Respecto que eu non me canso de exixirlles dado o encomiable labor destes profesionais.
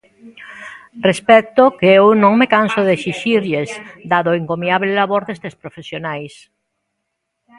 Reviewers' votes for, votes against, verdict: 2, 1, accepted